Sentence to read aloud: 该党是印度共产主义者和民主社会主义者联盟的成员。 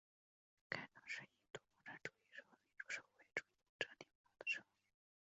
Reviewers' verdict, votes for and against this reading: rejected, 1, 2